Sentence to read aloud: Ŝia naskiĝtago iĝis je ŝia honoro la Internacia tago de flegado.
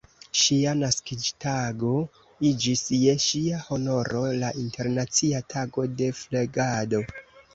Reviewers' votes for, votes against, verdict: 1, 2, rejected